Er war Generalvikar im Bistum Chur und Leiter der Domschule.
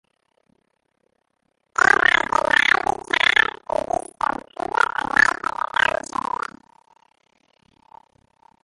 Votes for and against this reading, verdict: 0, 2, rejected